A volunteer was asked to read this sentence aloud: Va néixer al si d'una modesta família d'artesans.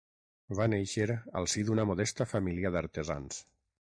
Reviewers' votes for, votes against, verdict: 6, 0, accepted